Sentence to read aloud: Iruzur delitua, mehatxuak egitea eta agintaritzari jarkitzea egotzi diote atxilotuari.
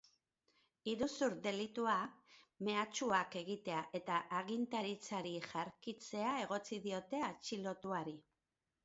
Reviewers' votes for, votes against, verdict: 2, 0, accepted